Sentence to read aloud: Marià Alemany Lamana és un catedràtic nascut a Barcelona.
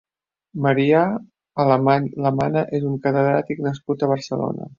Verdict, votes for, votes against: rejected, 0, 3